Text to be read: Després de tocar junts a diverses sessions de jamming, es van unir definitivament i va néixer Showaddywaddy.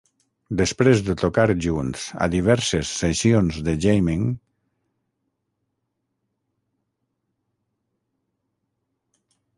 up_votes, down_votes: 0, 6